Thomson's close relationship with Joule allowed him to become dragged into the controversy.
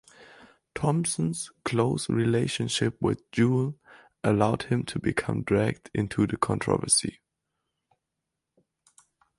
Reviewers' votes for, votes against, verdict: 2, 2, rejected